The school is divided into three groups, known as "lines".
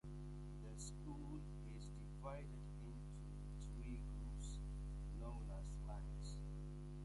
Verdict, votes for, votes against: rejected, 0, 2